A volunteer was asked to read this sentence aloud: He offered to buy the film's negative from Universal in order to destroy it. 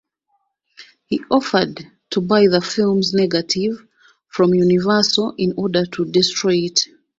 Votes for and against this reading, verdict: 2, 0, accepted